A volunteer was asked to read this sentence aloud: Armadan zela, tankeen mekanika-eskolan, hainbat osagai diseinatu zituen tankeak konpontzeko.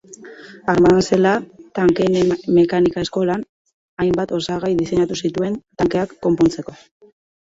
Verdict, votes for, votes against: rejected, 0, 2